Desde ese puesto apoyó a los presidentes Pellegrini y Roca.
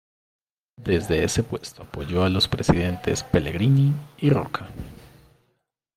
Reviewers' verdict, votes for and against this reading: accepted, 2, 1